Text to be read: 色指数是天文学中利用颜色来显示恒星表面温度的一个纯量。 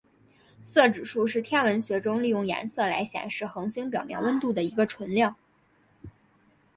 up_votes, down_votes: 7, 0